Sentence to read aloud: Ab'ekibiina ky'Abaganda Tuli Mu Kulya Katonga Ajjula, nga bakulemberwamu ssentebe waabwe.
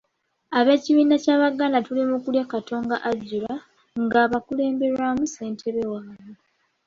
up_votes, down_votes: 1, 2